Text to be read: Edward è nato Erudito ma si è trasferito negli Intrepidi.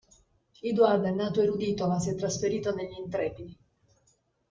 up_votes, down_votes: 0, 2